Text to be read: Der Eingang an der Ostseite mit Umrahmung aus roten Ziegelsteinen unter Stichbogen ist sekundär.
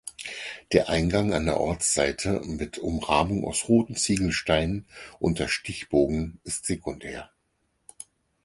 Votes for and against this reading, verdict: 0, 4, rejected